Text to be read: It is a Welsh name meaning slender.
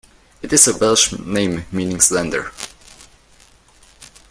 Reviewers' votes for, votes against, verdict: 2, 0, accepted